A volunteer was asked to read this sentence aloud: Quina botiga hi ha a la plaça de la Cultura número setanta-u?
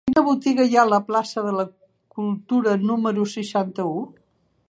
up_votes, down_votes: 0, 2